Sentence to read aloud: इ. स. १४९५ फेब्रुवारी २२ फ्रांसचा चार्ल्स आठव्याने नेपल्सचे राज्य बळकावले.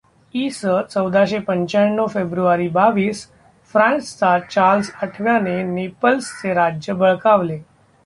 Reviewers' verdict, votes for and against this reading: rejected, 0, 2